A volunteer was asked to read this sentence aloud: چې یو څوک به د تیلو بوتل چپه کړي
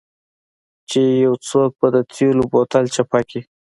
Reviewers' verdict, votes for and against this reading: accepted, 2, 0